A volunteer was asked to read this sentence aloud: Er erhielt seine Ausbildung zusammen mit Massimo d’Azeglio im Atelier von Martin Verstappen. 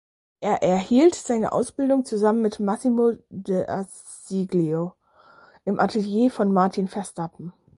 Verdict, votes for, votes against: rejected, 0, 4